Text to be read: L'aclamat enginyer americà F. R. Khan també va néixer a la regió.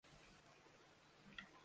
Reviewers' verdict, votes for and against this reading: rejected, 0, 2